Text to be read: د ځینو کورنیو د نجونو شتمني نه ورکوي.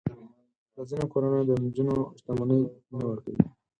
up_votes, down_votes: 2, 4